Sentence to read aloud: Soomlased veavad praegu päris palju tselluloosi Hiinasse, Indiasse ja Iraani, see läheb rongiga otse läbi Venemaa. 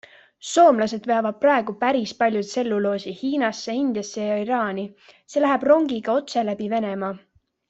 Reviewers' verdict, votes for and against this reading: accepted, 2, 0